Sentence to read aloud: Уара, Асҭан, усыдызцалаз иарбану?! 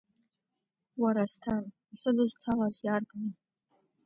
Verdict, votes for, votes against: rejected, 1, 2